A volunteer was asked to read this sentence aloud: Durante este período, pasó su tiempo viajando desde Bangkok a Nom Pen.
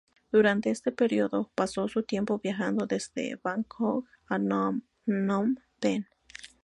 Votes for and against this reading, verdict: 2, 0, accepted